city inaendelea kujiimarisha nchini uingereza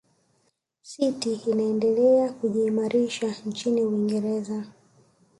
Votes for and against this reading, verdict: 3, 1, accepted